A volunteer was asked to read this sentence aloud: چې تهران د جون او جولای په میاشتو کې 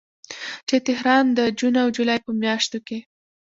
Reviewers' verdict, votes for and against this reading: accepted, 2, 1